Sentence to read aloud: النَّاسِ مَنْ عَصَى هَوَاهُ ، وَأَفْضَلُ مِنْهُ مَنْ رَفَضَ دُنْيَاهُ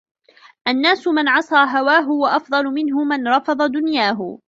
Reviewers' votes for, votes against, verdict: 2, 0, accepted